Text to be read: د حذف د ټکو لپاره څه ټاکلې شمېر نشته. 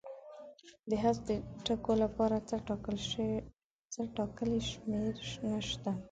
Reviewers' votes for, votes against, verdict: 0, 2, rejected